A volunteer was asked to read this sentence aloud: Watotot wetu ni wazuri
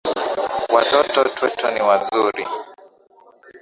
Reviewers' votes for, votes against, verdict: 1, 2, rejected